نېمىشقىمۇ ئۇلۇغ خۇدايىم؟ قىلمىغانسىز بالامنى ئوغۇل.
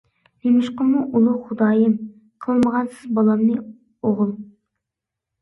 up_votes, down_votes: 2, 0